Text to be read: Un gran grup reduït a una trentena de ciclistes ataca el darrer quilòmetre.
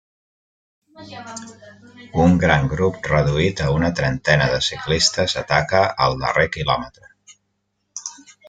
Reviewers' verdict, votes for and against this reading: rejected, 0, 2